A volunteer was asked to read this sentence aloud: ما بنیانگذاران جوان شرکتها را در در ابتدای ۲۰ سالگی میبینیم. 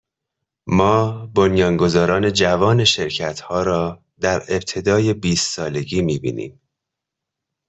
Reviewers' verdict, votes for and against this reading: rejected, 0, 2